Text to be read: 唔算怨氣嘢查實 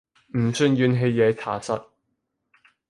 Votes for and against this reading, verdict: 2, 0, accepted